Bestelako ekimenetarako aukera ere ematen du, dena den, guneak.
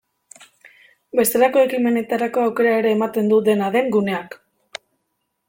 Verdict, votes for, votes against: accepted, 2, 1